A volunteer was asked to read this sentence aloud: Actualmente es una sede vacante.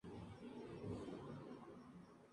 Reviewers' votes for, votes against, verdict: 0, 2, rejected